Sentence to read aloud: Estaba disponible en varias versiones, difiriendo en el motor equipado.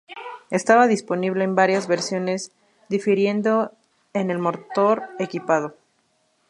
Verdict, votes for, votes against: rejected, 2, 2